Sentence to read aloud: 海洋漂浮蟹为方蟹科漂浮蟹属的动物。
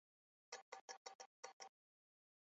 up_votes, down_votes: 0, 2